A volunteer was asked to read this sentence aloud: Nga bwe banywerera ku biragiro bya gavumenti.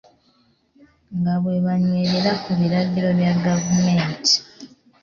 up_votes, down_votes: 0, 2